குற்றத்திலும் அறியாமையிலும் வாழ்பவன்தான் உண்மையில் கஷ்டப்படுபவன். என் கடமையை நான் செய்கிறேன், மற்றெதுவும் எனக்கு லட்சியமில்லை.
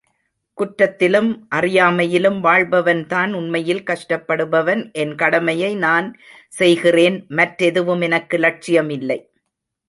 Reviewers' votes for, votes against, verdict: 1, 2, rejected